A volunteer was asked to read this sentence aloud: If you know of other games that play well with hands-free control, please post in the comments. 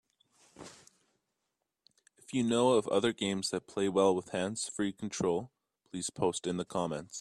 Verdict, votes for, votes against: accepted, 3, 0